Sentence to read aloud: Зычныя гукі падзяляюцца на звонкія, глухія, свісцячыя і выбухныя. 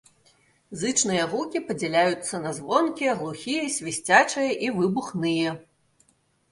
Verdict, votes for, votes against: accepted, 2, 0